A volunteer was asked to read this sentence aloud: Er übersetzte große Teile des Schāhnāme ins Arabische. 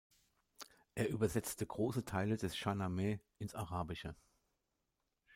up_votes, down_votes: 2, 0